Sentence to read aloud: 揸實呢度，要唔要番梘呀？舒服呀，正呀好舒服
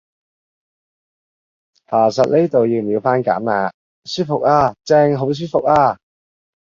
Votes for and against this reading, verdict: 0, 2, rejected